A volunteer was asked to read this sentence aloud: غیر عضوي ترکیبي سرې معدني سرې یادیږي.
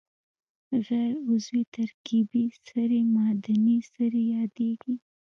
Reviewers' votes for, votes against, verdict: 1, 2, rejected